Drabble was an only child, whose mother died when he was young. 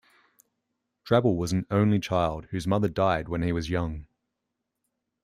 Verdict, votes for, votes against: accepted, 2, 0